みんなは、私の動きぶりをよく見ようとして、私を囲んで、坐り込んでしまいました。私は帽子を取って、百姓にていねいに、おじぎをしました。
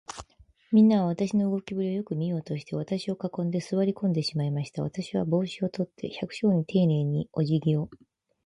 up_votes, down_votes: 2, 4